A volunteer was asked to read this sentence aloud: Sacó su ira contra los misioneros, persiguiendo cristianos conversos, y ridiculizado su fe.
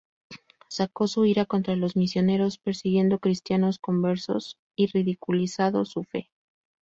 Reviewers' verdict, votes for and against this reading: rejected, 0, 2